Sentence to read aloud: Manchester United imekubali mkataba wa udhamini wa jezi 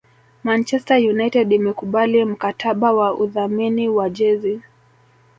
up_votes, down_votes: 0, 2